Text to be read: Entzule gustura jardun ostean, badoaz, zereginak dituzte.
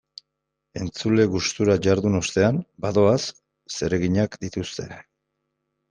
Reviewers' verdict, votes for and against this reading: accepted, 2, 0